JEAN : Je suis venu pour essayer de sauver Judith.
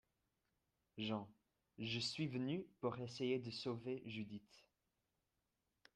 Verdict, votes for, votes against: accepted, 2, 0